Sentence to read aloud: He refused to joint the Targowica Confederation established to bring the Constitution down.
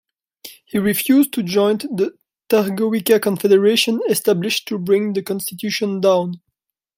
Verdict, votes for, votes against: rejected, 1, 2